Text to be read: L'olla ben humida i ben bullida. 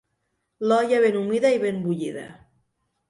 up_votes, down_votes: 2, 0